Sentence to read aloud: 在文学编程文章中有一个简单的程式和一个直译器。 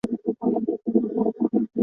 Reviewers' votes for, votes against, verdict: 0, 5, rejected